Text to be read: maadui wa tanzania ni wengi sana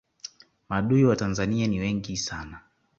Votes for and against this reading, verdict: 2, 0, accepted